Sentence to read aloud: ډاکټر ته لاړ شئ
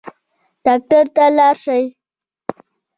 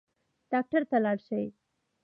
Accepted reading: second